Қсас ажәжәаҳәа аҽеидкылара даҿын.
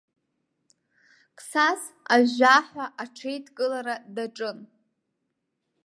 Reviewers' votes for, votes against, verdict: 2, 0, accepted